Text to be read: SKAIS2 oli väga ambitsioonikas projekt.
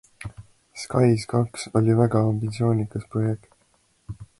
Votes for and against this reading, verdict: 0, 2, rejected